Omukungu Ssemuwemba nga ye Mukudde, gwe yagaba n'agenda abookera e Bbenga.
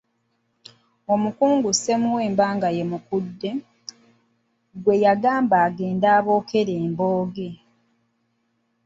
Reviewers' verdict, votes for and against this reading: rejected, 0, 2